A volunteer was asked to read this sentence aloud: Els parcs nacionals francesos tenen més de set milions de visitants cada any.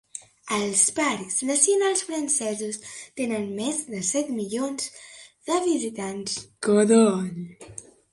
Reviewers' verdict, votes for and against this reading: accepted, 2, 0